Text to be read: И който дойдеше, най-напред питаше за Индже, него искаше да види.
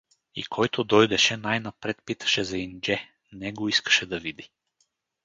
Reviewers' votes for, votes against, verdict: 4, 0, accepted